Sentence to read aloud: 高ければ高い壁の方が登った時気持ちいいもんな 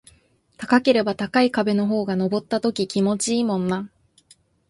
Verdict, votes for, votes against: accepted, 2, 0